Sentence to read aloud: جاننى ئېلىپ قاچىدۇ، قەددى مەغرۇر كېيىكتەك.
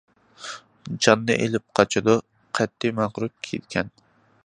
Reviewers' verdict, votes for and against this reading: rejected, 0, 2